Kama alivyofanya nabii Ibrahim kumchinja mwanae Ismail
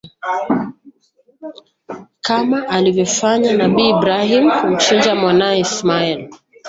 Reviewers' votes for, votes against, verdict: 1, 2, rejected